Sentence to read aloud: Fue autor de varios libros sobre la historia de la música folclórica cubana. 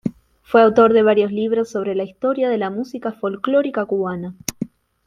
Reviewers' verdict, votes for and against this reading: accepted, 3, 0